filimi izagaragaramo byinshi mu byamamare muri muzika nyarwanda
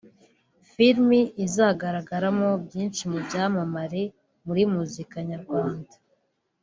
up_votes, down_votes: 2, 0